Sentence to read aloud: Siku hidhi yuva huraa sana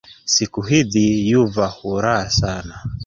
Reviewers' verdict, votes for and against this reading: accepted, 2, 1